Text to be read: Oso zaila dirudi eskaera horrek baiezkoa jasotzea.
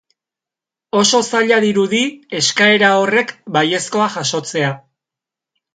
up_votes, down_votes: 3, 0